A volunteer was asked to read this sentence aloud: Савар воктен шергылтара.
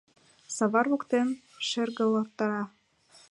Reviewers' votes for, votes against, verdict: 1, 2, rejected